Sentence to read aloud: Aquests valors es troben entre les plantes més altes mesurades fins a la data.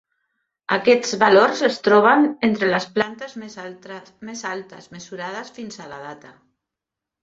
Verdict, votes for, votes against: rejected, 0, 2